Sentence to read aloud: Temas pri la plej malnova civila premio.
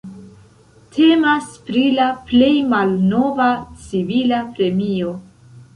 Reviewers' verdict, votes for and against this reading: accepted, 2, 0